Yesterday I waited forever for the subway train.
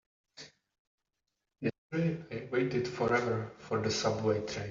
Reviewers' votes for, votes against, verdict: 1, 2, rejected